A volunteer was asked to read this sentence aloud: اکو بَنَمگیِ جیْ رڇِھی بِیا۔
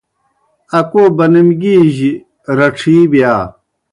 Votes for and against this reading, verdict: 2, 0, accepted